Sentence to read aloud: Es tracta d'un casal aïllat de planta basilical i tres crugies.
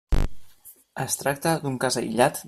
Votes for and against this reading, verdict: 0, 2, rejected